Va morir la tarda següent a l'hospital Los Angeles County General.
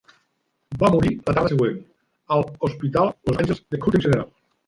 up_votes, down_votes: 0, 2